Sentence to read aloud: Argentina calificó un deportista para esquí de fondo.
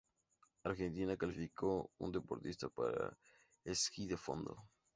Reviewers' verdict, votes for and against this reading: accepted, 2, 0